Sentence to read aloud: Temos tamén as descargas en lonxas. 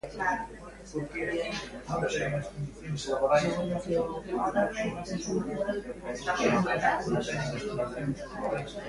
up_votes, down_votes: 0, 2